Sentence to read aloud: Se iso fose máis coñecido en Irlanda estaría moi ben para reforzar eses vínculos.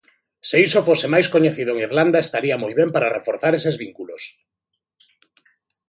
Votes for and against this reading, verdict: 2, 1, accepted